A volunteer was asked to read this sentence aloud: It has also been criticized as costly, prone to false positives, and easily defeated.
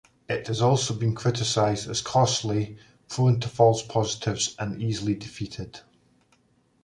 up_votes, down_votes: 2, 0